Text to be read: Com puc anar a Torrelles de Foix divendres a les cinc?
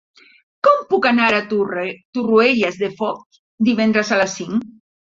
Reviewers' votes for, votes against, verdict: 0, 2, rejected